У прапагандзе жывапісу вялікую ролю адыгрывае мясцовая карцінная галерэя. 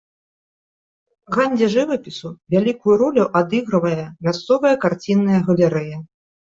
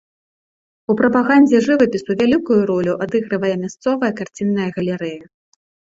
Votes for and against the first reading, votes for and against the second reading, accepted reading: 1, 2, 2, 0, second